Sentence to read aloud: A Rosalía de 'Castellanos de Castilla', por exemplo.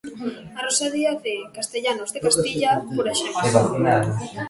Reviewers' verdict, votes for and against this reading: rejected, 0, 2